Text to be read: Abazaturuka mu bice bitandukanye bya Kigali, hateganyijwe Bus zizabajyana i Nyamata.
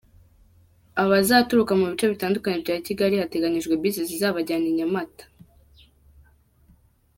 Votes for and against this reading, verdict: 2, 0, accepted